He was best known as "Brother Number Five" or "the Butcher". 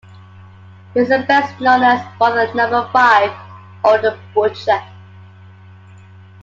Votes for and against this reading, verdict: 2, 0, accepted